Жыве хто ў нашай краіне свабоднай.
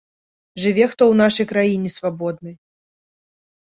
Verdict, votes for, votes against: accepted, 2, 0